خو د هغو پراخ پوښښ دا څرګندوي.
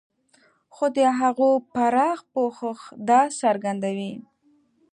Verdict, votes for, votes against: accepted, 2, 0